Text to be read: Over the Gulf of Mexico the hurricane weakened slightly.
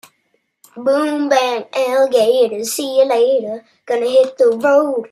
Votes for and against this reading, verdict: 0, 2, rejected